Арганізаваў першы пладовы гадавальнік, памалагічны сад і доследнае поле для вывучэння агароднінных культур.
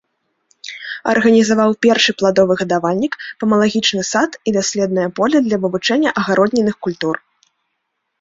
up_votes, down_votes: 2, 3